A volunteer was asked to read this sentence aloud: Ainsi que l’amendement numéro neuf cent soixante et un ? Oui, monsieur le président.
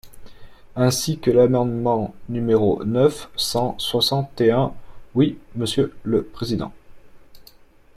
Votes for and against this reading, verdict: 3, 0, accepted